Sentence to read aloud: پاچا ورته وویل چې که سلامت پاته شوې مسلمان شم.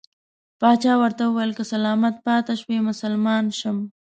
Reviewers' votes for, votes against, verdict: 2, 0, accepted